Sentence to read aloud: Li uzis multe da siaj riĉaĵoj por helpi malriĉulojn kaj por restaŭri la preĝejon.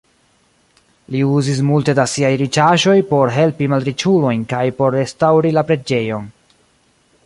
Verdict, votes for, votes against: accepted, 2, 1